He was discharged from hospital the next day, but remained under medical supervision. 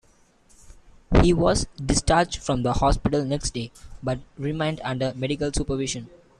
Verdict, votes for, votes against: accepted, 2, 1